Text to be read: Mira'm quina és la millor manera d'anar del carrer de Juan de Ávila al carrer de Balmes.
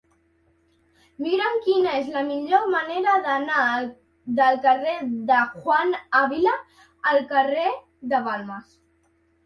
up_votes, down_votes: 1, 2